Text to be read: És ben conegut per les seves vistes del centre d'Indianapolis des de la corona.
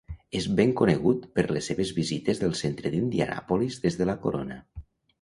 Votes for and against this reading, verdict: 1, 2, rejected